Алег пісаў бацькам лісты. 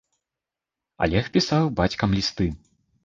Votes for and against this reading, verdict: 0, 2, rejected